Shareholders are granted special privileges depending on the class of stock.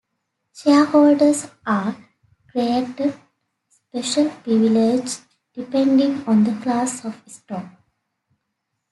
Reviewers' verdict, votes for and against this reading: rejected, 1, 2